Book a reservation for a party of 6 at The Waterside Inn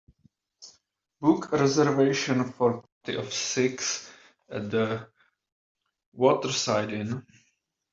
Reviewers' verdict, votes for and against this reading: rejected, 0, 2